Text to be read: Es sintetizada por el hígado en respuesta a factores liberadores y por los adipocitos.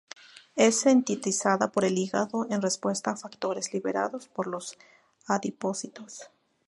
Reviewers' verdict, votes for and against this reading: rejected, 0, 2